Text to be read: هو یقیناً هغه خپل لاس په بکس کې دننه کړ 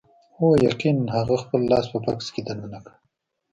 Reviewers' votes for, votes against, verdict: 0, 2, rejected